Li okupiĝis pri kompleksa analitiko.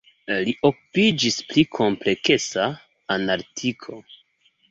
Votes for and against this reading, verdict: 0, 2, rejected